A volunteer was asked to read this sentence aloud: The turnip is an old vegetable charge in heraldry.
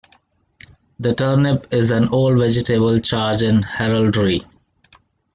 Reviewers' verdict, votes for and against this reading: accepted, 2, 0